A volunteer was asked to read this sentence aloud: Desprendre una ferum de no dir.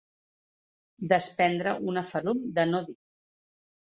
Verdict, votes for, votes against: accepted, 2, 1